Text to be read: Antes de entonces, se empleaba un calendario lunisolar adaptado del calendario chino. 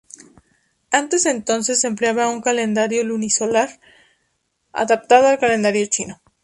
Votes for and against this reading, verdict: 0, 2, rejected